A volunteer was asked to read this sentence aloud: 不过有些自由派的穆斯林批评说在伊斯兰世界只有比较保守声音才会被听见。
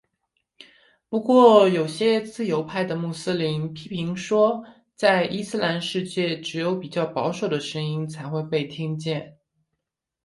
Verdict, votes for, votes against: accepted, 5, 0